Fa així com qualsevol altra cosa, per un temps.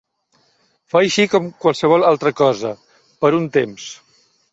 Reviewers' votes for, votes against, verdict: 3, 0, accepted